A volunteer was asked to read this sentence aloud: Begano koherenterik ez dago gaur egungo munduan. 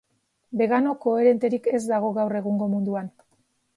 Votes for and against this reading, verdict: 2, 0, accepted